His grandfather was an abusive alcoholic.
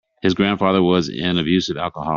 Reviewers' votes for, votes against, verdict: 1, 2, rejected